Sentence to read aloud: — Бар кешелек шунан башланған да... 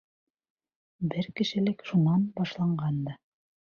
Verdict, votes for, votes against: rejected, 1, 2